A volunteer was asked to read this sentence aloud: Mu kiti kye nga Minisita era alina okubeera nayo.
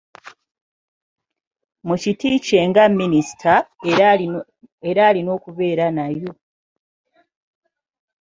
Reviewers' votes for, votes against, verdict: 1, 2, rejected